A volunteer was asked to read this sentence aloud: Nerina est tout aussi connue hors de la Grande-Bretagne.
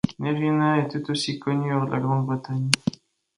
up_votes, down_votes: 2, 1